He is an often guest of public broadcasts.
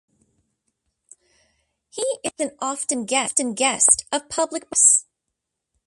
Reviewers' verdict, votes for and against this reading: rejected, 1, 2